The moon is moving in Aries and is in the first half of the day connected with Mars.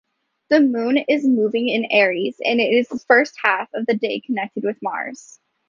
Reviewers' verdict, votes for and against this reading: rejected, 1, 2